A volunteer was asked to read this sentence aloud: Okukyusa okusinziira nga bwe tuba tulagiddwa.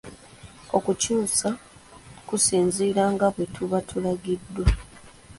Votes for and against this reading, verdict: 2, 0, accepted